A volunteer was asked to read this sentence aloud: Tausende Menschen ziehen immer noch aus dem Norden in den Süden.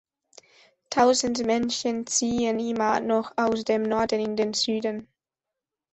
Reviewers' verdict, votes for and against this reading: accepted, 2, 0